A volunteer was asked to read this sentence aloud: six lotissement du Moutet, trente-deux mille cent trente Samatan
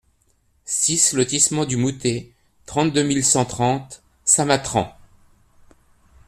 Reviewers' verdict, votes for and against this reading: rejected, 0, 2